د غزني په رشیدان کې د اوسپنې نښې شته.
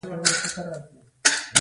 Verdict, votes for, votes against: rejected, 0, 2